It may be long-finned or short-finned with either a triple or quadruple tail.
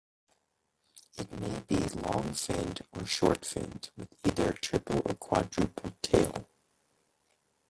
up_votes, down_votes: 0, 2